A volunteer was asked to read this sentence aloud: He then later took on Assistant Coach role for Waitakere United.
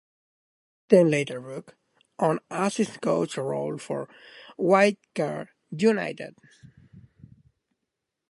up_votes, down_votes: 2, 1